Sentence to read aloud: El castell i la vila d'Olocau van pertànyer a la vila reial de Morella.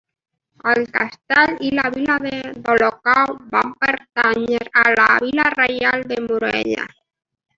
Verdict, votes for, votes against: accepted, 2, 0